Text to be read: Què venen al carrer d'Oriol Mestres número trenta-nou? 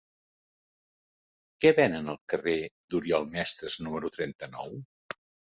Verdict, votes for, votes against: accepted, 3, 0